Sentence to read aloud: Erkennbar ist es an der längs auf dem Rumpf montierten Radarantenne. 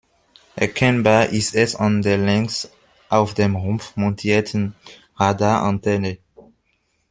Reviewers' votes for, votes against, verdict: 2, 0, accepted